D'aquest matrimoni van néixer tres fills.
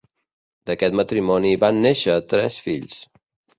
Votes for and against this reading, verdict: 2, 0, accepted